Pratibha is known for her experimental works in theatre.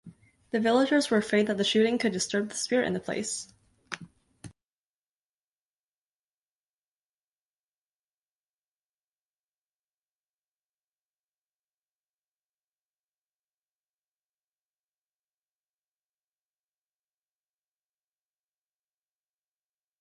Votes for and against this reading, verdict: 0, 2, rejected